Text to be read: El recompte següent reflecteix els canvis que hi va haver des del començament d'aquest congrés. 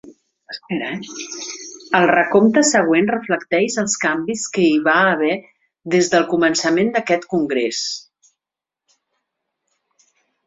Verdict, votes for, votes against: rejected, 1, 2